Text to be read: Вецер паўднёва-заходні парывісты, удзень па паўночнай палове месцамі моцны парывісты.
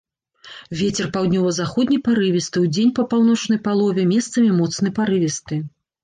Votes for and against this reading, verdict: 2, 0, accepted